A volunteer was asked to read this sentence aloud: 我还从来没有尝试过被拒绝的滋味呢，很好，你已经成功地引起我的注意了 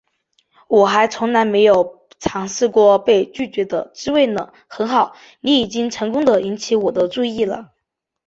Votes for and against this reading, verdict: 3, 0, accepted